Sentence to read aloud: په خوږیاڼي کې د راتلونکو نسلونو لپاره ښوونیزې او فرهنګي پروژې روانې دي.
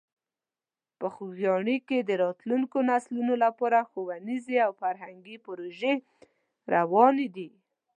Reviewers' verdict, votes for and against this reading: accepted, 2, 0